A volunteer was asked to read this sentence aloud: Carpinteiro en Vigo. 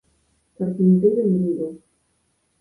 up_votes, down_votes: 4, 2